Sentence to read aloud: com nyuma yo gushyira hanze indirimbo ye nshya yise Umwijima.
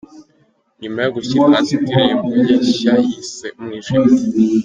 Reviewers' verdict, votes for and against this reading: rejected, 0, 2